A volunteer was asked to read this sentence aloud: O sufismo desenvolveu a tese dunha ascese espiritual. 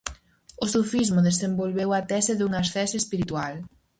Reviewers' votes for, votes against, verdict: 4, 0, accepted